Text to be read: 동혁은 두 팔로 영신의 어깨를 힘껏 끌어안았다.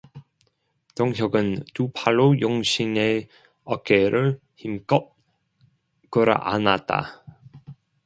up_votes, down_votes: 2, 1